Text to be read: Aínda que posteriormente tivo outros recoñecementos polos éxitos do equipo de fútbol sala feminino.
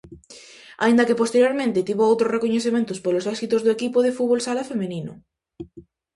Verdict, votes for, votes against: accepted, 4, 0